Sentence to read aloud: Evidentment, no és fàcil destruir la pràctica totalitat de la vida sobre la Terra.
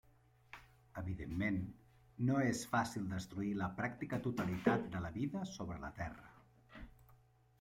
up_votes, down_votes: 1, 2